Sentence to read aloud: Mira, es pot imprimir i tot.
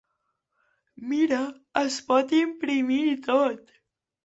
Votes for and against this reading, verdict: 2, 0, accepted